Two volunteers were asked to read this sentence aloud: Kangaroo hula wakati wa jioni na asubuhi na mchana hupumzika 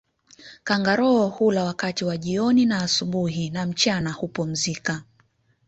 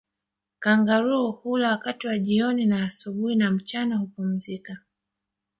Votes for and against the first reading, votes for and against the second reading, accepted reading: 2, 0, 1, 2, first